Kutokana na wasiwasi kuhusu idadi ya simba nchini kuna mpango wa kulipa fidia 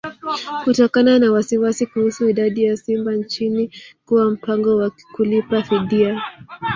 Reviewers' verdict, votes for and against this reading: rejected, 2, 3